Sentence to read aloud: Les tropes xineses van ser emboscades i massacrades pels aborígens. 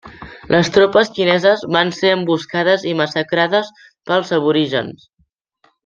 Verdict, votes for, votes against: accepted, 2, 0